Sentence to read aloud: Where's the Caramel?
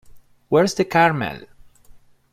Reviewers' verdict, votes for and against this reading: accepted, 2, 0